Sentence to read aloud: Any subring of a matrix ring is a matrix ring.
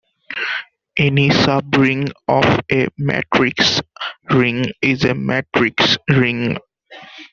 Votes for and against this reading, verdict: 2, 0, accepted